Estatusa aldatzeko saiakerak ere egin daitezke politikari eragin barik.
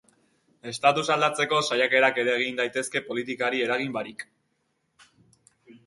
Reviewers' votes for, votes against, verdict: 3, 0, accepted